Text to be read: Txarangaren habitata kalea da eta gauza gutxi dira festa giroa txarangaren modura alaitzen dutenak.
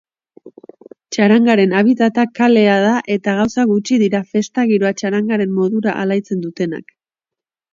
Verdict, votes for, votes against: accepted, 3, 0